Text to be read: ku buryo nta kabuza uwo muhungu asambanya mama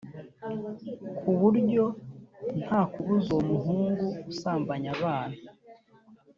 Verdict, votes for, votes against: rejected, 1, 3